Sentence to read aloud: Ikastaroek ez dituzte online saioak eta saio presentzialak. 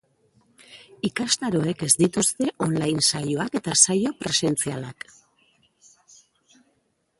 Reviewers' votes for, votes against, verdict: 1, 2, rejected